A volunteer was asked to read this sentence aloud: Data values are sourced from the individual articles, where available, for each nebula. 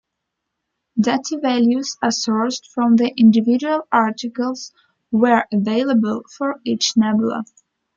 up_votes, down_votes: 3, 0